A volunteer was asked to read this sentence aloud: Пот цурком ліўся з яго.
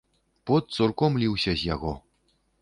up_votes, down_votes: 3, 0